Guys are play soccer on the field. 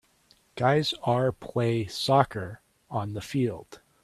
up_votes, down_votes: 3, 2